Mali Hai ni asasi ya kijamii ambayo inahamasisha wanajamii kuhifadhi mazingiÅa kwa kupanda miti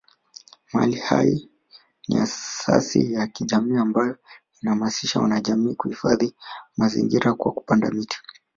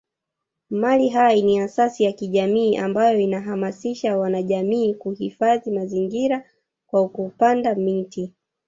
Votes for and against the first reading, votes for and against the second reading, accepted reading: 2, 1, 1, 2, first